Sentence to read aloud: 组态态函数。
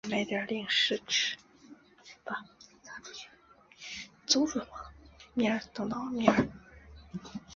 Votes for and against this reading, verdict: 2, 5, rejected